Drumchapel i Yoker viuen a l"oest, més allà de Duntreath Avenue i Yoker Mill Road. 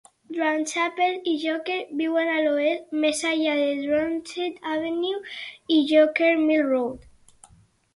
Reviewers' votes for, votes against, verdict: 4, 6, rejected